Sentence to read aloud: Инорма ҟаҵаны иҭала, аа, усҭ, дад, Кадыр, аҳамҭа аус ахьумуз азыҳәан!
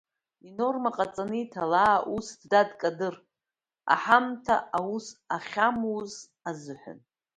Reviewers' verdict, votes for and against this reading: rejected, 1, 3